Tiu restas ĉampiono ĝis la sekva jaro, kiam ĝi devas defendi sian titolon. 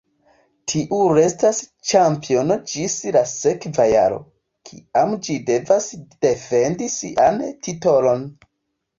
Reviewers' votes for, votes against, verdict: 2, 0, accepted